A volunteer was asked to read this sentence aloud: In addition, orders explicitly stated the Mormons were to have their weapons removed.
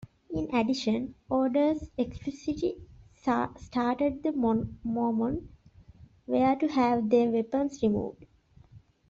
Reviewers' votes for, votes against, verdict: 0, 2, rejected